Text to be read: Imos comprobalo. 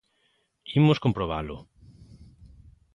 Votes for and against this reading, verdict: 2, 0, accepted